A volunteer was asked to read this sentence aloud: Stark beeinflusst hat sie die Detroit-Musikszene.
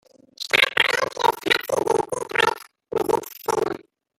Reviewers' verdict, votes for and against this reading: rejected, 0, 2